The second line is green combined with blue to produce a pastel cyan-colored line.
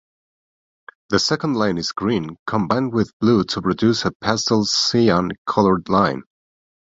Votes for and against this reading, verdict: 1, 2, rejected